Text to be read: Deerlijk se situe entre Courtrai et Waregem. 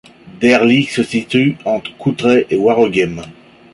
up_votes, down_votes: 0, 2